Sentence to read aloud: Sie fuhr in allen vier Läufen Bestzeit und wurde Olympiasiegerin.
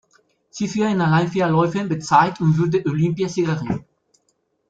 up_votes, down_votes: 0, 2